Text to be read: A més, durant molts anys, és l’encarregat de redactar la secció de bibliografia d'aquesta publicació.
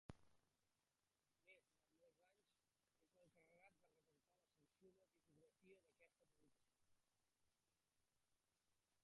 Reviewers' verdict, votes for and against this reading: rejected, 0, 3